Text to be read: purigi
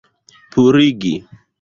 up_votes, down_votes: 0, 2